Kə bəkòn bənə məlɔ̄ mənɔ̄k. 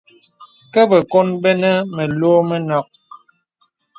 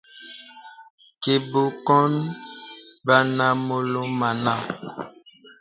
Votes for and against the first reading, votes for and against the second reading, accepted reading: 2, 0, 0, 2, first